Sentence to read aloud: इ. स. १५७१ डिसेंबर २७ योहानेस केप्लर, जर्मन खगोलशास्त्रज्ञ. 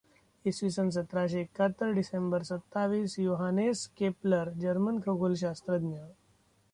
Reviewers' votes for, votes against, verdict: 0, 2, rejected